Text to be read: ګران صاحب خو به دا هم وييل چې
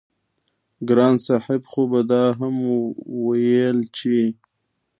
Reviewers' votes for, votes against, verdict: 1, 2, rejected